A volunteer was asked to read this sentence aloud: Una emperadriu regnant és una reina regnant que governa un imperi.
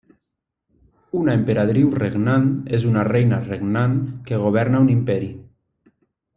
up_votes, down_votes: 0, 2